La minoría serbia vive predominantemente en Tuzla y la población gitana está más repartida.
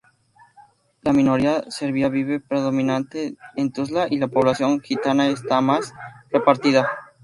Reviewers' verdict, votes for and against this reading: rejected, 0, 2